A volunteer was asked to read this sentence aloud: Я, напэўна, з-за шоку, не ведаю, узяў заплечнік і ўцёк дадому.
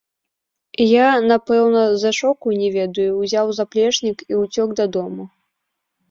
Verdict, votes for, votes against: rejected, 1, 2